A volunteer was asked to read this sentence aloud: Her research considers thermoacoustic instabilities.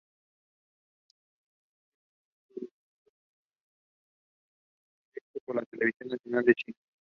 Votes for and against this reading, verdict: 0, 2, rejected